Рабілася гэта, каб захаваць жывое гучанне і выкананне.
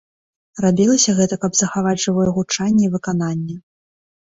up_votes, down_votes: 3, 0